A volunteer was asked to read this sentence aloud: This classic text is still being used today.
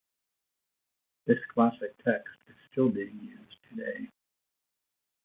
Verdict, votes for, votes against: accepted, 2, 0